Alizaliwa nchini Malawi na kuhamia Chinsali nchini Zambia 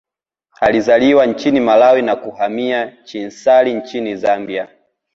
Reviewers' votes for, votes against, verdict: 2, 0, accepted